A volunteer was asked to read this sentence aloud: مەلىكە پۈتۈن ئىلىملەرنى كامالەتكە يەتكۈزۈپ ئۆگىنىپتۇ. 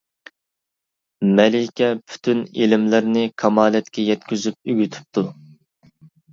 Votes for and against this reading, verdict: 1, 2, rejected